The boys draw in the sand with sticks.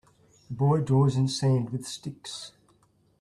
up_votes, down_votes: 0, 2